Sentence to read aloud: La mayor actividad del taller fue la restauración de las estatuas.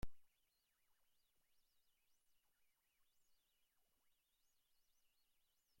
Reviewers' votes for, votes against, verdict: 0, 2, rejected